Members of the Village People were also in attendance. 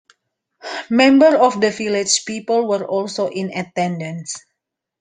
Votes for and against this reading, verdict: 0, 2, rejected